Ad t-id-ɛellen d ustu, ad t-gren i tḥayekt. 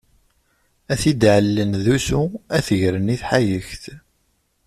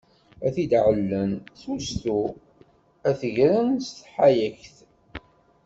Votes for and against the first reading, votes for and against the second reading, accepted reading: 2, 1, 1, 2, first